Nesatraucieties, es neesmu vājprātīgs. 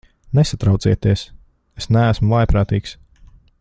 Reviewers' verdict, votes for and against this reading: accepted, 2, 0